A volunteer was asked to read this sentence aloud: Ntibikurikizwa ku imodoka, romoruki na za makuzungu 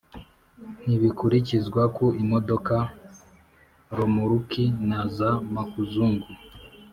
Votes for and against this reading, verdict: 2, 0, accepted